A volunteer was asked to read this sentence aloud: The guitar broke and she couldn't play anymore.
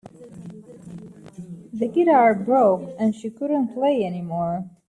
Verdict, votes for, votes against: rejected, 1, 3